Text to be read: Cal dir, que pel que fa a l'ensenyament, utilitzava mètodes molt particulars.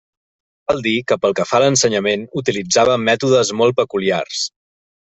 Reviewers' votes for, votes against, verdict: 0, 2, rejected